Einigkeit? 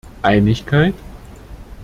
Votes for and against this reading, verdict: 2, 0, accepted